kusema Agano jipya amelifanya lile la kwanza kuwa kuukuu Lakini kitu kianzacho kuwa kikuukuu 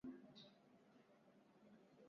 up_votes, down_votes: 2, 11